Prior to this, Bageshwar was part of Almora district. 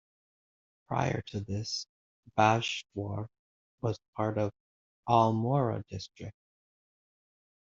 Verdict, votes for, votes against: rejected, 1, 2